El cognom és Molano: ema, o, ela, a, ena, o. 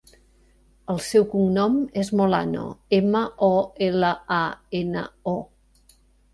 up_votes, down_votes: 0, 2